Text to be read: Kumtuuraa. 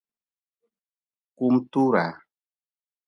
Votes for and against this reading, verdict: 0, 2, rejected